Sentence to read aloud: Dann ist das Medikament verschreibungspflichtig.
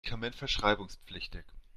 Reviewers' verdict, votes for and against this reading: rejected, 1, 2